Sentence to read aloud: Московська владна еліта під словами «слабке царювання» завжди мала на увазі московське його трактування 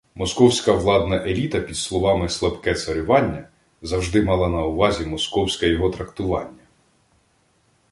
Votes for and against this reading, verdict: 2, 0, accepted